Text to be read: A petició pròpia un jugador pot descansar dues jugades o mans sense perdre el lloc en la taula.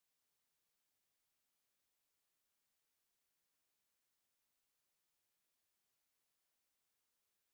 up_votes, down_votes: 0, 2